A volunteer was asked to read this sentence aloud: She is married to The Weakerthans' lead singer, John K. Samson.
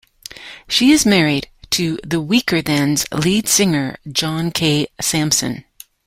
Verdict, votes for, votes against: accepted, 2, 0